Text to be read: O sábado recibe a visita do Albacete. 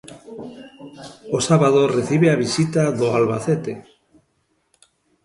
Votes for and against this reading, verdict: 2, 0, accepted